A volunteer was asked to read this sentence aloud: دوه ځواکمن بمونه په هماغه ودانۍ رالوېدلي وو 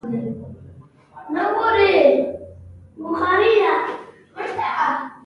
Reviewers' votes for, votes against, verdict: 0, 2, rejected